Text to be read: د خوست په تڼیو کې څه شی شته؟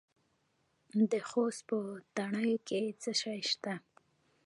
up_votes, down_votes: 2, 0